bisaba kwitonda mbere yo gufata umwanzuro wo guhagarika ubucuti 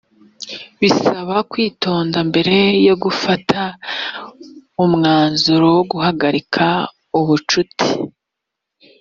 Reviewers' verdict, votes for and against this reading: accepted, 2, 0